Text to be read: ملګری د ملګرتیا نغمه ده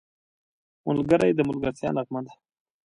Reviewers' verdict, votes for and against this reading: accepted, 2, 0